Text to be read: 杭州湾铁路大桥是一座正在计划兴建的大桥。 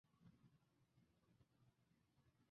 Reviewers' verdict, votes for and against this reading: rejected, 1, 2